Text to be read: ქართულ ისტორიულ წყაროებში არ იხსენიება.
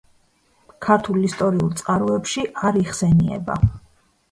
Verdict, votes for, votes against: accepted, 2, 0